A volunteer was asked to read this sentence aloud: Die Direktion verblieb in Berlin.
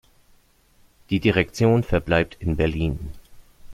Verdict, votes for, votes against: rejected, 1, 2